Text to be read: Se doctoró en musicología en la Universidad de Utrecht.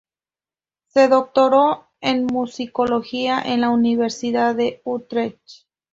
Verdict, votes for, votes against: rejected, 2, 2